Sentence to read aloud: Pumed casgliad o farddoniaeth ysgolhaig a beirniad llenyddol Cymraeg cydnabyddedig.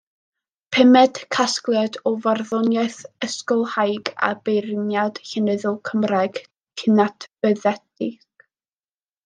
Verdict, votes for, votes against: rejected, 0, 2